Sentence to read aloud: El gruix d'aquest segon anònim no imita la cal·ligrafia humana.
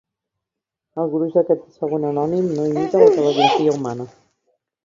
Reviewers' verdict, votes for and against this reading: rejected, 1, 2